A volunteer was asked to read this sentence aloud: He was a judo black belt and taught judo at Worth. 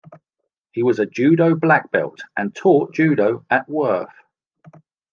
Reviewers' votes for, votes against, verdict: 2, 0, accepted